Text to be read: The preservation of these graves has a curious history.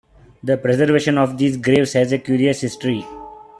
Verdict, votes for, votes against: rejected, 2, 3